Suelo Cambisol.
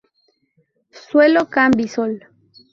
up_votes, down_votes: 2, 0